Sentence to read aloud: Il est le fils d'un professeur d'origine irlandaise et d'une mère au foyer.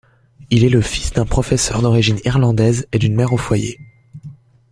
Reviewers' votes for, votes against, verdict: 2, 0, accepted